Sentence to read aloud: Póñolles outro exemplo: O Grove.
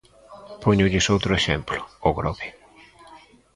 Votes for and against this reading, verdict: 2, 0, accepted